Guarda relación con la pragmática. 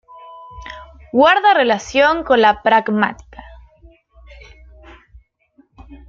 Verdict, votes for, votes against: accepted, 2, 1